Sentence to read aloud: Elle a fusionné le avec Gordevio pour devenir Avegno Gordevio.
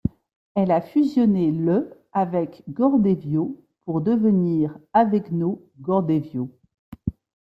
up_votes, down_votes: 2, 0